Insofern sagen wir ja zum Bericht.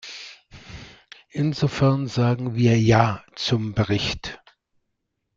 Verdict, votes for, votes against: accepted, 2, 0